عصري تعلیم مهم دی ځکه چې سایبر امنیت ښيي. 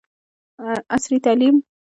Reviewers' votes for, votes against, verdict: 2, 0, accepted